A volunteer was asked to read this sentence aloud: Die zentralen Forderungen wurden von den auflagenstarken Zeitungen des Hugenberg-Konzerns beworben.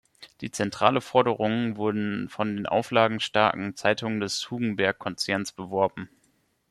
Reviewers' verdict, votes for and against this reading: rejected, 0, 2